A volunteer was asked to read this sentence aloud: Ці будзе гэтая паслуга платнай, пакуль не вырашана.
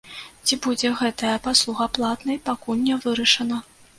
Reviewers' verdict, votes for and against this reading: accepted, 2, 0